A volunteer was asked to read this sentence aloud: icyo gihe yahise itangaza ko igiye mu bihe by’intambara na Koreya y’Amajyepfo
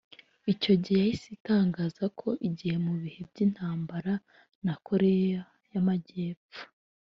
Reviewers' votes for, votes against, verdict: 2, 0, accepted